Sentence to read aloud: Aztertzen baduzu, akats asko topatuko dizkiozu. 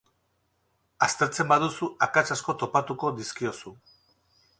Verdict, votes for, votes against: accepted, 4, 0